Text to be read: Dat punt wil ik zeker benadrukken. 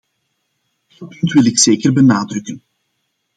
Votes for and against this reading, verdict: 1, 2, rejected